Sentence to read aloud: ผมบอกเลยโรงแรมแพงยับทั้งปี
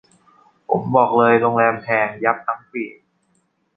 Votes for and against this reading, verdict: 2, 0, accepted